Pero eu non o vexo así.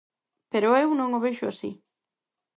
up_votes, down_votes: 4, 0